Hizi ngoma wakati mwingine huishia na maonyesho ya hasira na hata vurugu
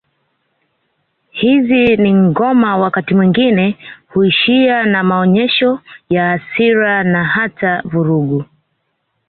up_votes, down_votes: 1, 2